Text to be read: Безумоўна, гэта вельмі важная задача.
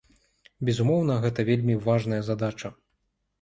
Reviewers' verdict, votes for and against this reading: accepted, 2, 0